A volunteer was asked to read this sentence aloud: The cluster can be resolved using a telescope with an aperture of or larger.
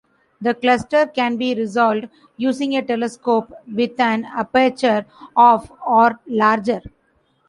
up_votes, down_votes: 2, 0